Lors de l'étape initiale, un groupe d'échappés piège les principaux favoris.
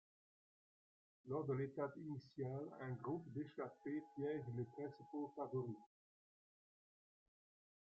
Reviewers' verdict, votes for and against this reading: rejected, 0, 2